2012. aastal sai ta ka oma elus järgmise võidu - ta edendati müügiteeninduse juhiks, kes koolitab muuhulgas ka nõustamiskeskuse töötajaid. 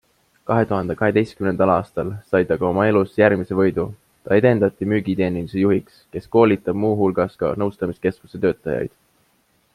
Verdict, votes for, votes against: rejected, 0, 2